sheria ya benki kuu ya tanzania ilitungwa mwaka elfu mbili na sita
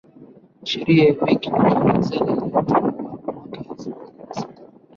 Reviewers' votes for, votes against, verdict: 0, 2, rejected